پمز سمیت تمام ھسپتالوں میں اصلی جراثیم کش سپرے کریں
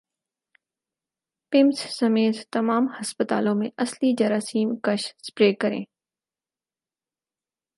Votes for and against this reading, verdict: 4, 0, accepted